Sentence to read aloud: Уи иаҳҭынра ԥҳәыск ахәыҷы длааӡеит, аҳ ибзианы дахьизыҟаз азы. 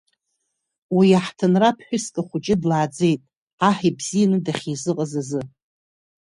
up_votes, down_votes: 2, 0